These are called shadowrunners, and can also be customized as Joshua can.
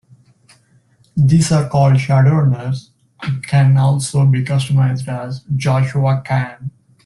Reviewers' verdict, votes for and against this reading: accepted, 2, 0